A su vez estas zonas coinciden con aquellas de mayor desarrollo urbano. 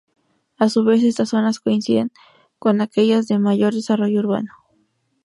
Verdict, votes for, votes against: accepted, 2, 0